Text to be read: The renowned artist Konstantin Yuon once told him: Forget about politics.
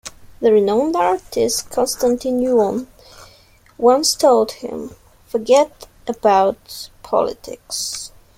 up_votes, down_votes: 0, 2